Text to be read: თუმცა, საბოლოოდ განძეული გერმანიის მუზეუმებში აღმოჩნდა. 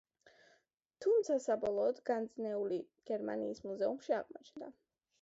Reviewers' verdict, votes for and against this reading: accepted, 2, 1